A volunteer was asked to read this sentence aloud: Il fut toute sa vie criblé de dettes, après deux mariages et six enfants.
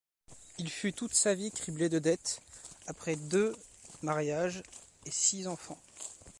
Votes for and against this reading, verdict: 1, 2, rejected